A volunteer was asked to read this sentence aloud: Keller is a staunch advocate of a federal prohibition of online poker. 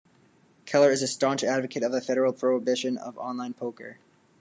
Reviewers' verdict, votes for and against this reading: rejected, 1, 2